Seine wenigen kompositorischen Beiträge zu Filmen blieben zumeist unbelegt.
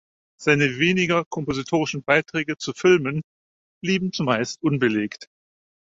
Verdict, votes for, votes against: rejected, 0, 4